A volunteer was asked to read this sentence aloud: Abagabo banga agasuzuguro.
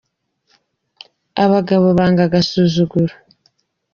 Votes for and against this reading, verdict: 0, 2, rejected